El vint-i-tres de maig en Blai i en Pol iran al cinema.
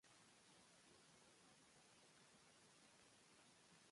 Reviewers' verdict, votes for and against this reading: rejected, 0, 2